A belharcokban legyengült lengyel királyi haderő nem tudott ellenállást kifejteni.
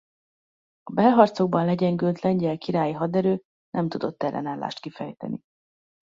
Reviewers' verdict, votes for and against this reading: accepted, 2, 0